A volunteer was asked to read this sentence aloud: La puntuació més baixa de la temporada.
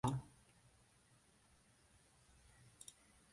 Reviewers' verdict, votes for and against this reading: rejected, 0, 2